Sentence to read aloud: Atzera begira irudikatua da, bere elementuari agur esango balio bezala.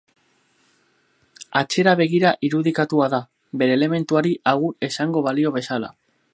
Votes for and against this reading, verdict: 6, 0, accepted